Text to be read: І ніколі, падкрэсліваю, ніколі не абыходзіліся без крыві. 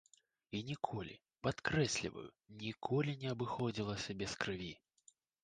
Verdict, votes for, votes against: accepted, 2, 0